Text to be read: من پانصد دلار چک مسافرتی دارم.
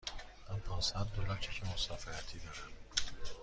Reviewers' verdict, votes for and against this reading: accepted, 2, 0